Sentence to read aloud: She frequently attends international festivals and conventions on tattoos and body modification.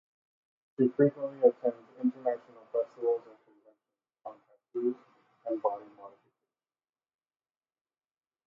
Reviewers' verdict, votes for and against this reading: rejected, 0, 2